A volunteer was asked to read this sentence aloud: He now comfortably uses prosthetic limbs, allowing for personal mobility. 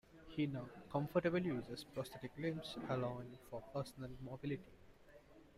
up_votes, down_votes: 1, 2